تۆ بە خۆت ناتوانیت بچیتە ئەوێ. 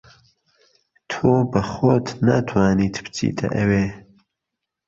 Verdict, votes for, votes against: rejected, 0, 2